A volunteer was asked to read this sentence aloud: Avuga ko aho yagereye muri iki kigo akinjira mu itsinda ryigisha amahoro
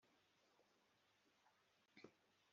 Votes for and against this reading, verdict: 0, 2, rejected